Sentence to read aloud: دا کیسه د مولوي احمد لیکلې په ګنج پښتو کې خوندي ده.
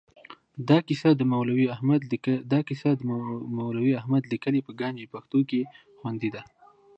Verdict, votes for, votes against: rejected, 0, 2